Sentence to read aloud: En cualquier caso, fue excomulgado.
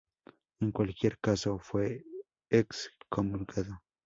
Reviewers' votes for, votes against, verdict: 2, 0, accepted